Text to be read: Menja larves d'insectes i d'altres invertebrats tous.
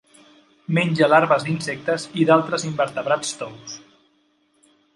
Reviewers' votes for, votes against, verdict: 3, 0, accepted